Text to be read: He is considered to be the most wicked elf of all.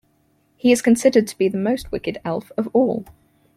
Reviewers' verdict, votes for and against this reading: accepted, 4, 0